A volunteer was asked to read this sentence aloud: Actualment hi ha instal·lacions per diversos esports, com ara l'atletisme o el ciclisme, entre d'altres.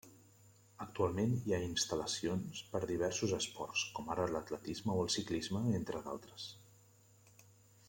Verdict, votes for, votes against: rejected, 1, 2